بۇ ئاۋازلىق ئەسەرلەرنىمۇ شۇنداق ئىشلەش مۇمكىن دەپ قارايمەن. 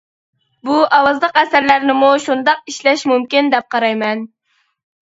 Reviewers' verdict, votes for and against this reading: accepted, 2, 0